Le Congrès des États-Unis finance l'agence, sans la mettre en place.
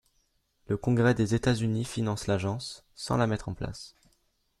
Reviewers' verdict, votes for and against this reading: accepted, 2, 0